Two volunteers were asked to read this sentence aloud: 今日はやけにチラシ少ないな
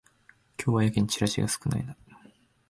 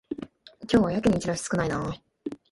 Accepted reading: second